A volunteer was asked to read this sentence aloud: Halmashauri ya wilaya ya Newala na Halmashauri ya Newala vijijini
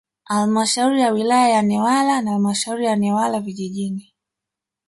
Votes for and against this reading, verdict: 0, 2, rejected